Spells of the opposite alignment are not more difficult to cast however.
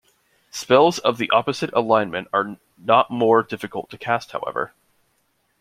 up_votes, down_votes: 2, 0